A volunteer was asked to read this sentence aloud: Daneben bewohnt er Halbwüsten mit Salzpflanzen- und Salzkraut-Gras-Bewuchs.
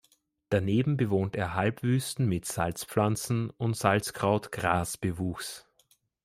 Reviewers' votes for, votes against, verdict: 2, 0, accepted